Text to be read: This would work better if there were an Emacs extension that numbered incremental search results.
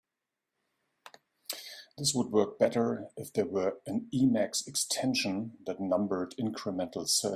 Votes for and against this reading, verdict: 0, 2, rejected